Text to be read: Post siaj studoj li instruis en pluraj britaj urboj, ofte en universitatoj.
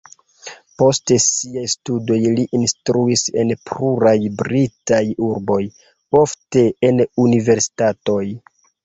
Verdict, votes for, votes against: rejected, 1, 2